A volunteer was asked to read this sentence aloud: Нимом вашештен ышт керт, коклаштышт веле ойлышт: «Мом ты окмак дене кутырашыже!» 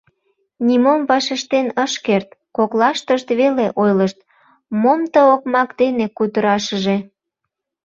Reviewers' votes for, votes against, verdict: 1, 2, rejected